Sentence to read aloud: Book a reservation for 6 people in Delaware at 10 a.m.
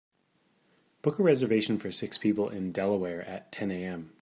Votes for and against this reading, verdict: 0, 2, rejected